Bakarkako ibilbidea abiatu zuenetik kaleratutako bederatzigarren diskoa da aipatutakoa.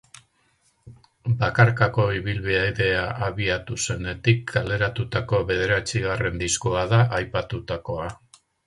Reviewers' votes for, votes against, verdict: 2, 4, rejected